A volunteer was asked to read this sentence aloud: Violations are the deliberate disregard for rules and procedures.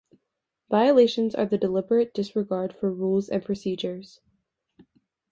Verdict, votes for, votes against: accepted, 2, 1